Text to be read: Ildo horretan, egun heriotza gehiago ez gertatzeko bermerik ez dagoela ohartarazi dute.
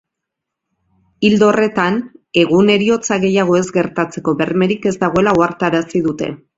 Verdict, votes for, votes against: accepted, 3, 0